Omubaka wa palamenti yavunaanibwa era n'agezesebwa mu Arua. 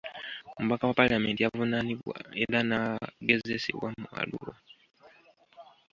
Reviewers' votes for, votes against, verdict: 1, 2, rejected